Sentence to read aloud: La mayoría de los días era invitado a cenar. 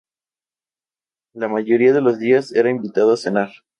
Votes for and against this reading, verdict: 2, 0, accepted